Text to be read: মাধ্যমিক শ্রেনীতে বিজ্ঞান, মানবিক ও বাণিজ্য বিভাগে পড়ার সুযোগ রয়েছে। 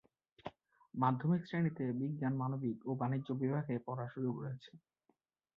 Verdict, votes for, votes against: accepted, 2, 0